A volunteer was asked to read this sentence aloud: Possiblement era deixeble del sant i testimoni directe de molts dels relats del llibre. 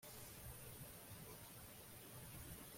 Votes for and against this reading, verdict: 1, 2, rejected